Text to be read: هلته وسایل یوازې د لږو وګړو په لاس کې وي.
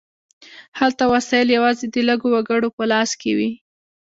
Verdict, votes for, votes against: accepted, 2, 0